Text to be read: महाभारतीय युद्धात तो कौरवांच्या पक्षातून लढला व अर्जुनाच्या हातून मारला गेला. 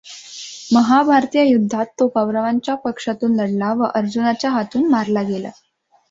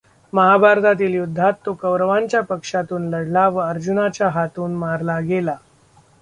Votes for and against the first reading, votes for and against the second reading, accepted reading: 2, 0, 0, 2, first